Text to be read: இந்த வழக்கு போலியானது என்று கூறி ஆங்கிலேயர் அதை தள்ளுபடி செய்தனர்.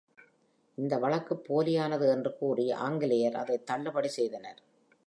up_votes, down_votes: 2, 0